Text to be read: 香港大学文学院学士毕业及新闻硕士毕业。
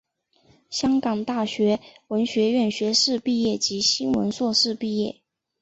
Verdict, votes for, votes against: accepted, 6, 0